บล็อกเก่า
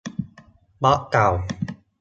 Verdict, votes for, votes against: accepted, 2, 0